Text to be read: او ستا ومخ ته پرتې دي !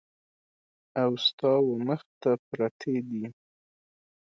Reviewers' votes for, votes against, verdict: 2, 0, accepted